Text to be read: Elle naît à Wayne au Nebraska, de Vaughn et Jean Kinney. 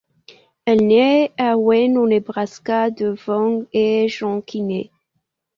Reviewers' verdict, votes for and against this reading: accepted, 2, 1